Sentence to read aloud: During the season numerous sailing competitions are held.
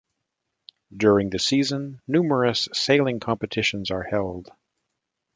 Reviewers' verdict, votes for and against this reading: accepted, 2, 0